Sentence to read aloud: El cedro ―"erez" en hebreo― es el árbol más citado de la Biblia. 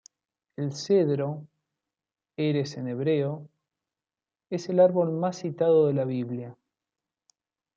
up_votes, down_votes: 2, 0